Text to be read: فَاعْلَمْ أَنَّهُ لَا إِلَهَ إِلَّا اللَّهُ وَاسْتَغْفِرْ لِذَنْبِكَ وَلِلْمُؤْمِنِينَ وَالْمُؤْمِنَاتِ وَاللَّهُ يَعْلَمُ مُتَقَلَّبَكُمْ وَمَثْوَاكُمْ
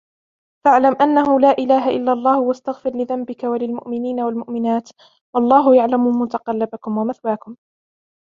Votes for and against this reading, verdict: 2, 0, accepted